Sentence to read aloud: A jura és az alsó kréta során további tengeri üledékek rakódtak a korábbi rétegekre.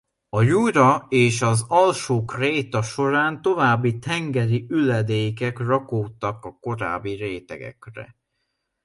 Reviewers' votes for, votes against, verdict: 2, 0, accepted